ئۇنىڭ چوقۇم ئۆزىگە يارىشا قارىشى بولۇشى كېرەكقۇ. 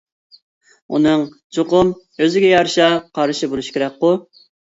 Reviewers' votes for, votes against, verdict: 2, 0, accepted